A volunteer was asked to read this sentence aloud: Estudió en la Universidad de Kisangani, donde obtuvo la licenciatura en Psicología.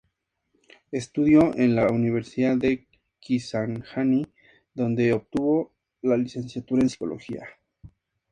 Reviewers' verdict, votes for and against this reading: accepted, 2, 0